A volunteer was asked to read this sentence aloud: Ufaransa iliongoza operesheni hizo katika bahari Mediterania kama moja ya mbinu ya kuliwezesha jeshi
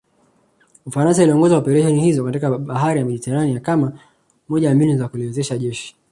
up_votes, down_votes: 0, 2